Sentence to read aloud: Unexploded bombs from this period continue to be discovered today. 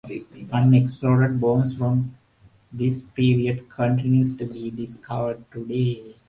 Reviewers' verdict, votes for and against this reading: rejected, 0, 2